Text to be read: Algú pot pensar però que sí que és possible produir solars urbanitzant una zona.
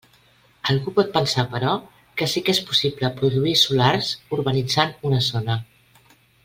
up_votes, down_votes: 3, 0